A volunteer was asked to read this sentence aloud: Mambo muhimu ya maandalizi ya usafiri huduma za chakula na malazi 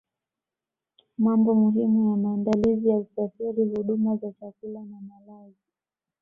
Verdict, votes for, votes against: rejected, 1, 2